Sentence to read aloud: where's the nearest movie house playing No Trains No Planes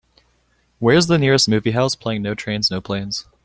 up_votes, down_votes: 2, 0